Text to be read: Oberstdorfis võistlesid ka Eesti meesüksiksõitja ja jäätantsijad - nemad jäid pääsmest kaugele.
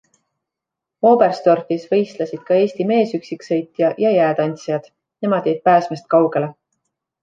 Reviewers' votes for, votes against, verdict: 2, 0, accepted